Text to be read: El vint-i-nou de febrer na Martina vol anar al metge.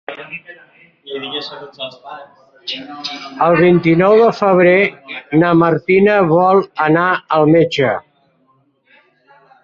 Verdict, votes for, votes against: rejected, 0, 2